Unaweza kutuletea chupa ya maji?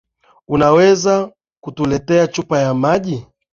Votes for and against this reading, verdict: 2, 0, accepted